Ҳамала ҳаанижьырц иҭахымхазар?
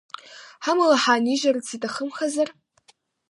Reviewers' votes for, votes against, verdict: 2, 0, accepted